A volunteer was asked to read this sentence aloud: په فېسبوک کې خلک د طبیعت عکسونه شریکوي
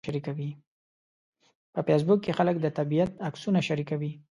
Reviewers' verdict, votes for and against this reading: rejected, 0, 2